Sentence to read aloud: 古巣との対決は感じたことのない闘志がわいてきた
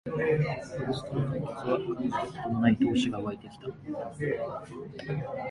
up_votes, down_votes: 2, 1